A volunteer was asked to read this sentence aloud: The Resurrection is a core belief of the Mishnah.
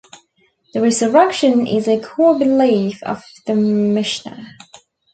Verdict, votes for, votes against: rejected, 1, 2